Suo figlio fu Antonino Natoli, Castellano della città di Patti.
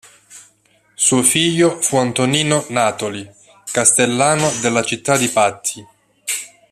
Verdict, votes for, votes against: rejected, 1, 2